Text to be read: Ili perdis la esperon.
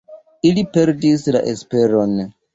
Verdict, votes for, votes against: accepted, 2, 0